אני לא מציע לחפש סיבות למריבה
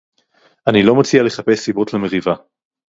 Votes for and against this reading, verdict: 2, 0, accepted